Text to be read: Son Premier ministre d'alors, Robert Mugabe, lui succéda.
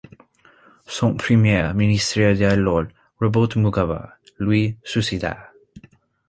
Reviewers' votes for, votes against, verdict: 1, 2, rejected